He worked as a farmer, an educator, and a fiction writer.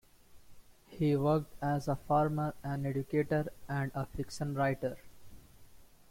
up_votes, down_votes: 1, 2